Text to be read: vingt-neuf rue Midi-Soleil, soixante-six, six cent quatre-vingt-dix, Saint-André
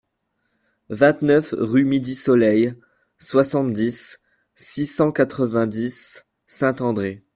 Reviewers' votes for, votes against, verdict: 0, 2, rejected